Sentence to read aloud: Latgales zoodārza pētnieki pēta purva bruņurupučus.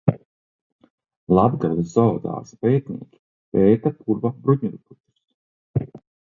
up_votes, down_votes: 0, 2